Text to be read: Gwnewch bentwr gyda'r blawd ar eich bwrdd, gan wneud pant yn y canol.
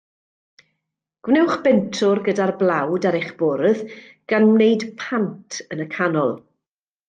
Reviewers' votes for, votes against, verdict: 2, 0, accepted